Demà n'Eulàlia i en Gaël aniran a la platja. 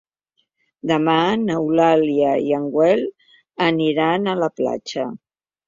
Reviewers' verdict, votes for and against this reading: rejected, 0, 2